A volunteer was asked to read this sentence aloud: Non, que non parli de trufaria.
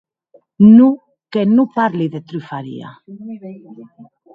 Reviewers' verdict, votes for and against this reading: accepted, 4, 0